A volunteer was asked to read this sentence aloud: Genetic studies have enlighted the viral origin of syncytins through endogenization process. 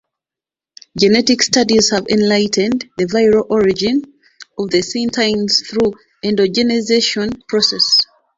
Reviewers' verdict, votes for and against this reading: accepted, 2, 0